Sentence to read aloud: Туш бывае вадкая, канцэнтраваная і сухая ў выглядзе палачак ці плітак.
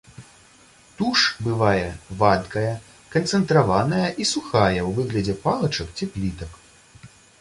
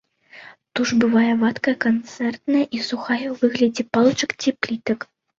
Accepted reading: first